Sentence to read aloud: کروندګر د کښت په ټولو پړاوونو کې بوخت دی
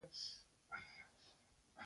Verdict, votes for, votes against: accepted, 3, 1